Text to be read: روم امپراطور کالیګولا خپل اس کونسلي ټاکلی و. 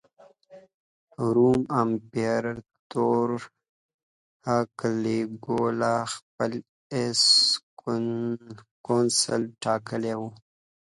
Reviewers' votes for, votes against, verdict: 2, 1, accepted